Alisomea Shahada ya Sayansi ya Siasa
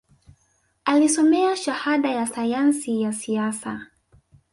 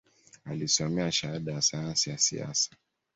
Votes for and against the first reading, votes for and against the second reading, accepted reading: 2, 0, 0, 2, first